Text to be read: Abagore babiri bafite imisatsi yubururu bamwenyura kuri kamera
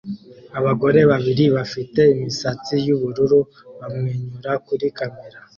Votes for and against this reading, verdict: 2, 0, accepted